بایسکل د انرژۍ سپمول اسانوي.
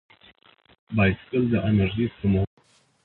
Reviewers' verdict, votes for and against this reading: rejected, 2, 4